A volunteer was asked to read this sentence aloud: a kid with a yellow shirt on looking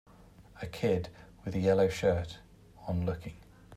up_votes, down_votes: 2, 0